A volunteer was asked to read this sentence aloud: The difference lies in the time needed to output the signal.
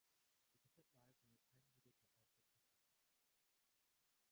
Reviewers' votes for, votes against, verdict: 0, 3, rejected